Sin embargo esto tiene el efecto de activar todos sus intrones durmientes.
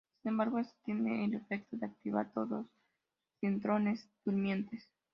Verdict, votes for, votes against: accepted, 2, 0